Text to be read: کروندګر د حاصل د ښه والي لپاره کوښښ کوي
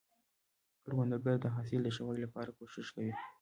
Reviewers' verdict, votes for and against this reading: accepted, 2, 0